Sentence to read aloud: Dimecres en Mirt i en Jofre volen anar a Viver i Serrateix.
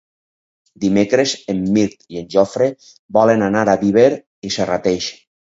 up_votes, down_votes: 4, 0